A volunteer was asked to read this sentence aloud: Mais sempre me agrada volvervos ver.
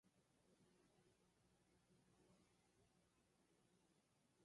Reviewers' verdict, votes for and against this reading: rejected, 0, 4